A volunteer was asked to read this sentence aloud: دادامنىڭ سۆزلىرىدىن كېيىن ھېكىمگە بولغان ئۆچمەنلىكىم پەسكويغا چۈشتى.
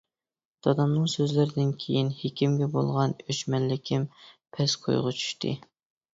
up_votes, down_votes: 2, 0